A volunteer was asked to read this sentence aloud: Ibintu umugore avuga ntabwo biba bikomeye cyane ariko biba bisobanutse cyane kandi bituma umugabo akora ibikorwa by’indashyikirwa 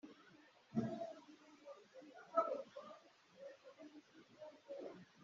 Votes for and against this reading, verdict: 0, 2, rejected